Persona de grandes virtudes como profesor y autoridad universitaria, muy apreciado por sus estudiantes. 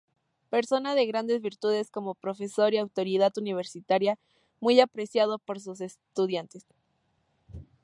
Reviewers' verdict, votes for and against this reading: accepted, 2, 0